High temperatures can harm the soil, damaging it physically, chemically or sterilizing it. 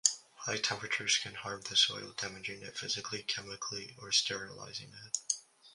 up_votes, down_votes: 2, 1